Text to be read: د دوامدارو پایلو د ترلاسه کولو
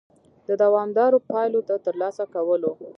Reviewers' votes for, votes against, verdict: 0, 2, rejected